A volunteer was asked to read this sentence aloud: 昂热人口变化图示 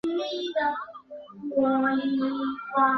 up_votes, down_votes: 0, 5